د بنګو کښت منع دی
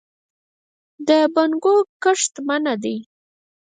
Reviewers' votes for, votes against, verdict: 2, 4, rejected